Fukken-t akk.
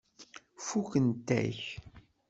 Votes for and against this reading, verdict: 0, 2, rejected